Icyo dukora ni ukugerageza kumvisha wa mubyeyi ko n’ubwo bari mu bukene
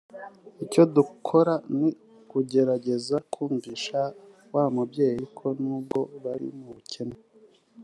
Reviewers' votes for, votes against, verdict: 2, 0, accepted